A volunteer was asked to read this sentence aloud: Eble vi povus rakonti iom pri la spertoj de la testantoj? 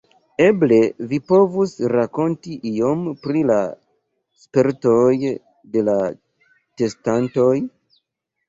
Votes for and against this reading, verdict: 1, 2, rejected